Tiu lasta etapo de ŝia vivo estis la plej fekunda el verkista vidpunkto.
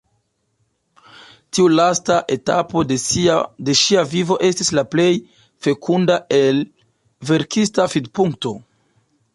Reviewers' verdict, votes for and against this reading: rejected, 1, 2